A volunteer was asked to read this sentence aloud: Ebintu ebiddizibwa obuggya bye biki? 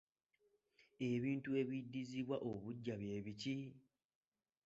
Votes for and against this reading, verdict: 2, 0, accepted